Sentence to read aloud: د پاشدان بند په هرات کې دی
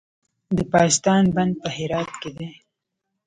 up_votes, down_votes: 2, 0